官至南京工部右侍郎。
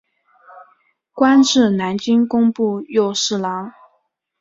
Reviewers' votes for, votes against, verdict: 2, 1, accepted